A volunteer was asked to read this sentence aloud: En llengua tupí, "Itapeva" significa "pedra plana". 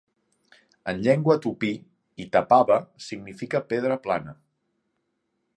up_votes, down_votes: 1, 2